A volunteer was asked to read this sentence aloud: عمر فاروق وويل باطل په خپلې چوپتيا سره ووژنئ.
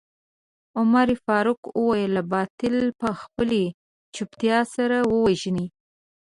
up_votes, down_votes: 2, 0